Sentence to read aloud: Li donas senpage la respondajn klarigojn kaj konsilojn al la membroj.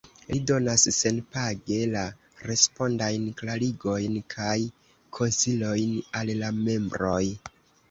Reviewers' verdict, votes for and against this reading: accepted, 2, 0